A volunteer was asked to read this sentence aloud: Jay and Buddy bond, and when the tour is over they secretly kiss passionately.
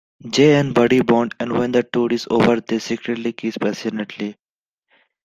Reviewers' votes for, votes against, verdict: 2, 0, accepted